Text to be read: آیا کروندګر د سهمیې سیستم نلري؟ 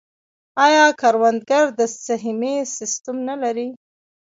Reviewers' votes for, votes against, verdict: 1, 2, rejected